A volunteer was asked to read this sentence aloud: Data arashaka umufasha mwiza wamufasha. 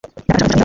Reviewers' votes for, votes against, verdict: 0, 2, rejected